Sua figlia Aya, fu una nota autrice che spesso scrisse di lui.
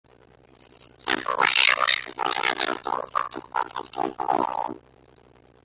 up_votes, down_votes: 0, 2